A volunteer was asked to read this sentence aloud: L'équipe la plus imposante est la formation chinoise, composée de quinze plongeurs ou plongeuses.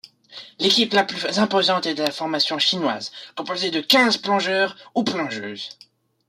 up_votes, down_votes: 2, 1